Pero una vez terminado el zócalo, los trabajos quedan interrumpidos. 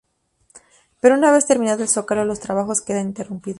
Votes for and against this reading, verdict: 0, 4, rejected